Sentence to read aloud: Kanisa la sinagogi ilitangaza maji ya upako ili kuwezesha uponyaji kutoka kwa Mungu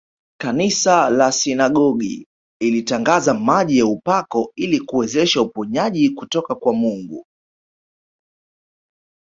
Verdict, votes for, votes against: accepted, 2, 1